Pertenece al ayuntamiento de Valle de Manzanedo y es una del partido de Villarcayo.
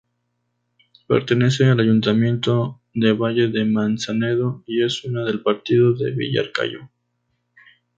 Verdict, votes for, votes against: accepted, 2, 0